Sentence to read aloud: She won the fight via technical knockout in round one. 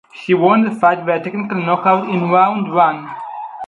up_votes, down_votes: 2, 4